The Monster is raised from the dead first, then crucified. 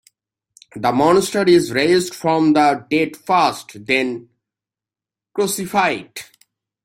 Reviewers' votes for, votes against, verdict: 3, 1, accepted